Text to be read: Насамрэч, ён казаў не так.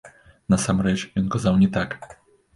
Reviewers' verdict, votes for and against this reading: accepted, 2, 0